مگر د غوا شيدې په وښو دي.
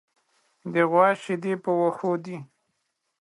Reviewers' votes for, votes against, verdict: 0, 2, rejected